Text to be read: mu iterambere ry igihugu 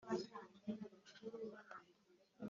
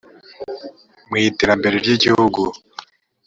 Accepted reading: second